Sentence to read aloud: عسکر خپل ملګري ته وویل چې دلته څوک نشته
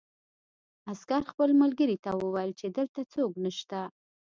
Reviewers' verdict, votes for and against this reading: accepted, 2, 0